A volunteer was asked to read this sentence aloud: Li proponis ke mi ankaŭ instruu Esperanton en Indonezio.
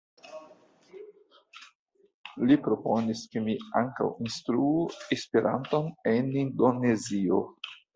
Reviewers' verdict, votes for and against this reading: accepted, 2, 1